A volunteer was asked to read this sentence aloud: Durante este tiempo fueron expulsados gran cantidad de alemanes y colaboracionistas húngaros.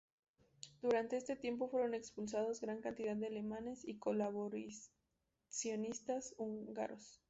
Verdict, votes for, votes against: rejected, 0, 2